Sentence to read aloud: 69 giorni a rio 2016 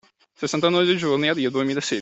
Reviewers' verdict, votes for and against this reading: rejected, 0, 2